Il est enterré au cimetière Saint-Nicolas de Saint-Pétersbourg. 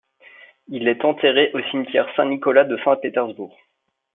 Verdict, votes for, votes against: accepted, 2, 0